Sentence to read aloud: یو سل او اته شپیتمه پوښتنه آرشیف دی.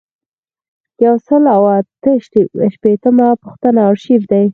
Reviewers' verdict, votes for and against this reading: rejected, 2, 4